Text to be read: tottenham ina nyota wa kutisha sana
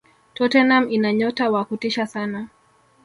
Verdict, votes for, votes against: accepted, 3, 1